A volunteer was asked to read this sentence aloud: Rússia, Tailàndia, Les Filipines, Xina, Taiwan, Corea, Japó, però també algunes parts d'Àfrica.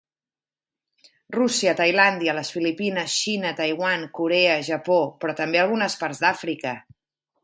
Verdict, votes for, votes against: accepted, 2, 0